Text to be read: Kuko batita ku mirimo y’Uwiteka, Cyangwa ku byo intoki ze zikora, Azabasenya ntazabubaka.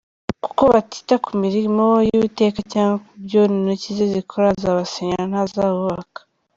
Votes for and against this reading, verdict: 1, 2, rejected